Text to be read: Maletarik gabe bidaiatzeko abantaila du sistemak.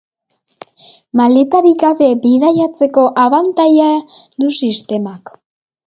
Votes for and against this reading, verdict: 2, 1, accepted